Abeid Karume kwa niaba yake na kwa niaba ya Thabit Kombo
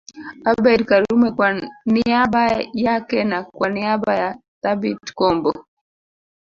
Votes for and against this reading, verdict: 1, 2, rejected